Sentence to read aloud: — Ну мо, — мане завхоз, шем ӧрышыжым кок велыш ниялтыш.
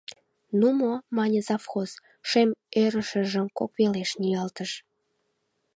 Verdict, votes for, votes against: rejected, 0, 2